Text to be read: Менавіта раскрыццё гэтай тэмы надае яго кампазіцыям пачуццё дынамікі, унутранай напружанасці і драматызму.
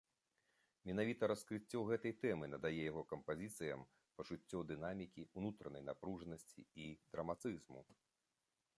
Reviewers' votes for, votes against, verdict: 2, 1, accepted